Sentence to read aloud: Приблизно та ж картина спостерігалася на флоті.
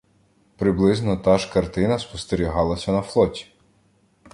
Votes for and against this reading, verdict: 2, 0, accepted